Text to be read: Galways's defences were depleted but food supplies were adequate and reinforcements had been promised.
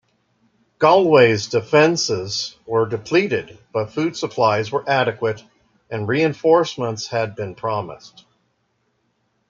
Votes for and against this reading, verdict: 2, 1, accepted